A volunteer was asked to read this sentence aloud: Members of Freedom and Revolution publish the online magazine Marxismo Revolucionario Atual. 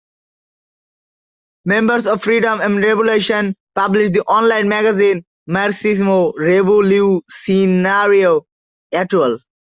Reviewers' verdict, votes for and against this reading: accepted, 2, 1